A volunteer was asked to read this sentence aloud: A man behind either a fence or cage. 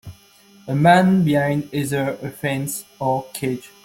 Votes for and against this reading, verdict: 2, 1, accepted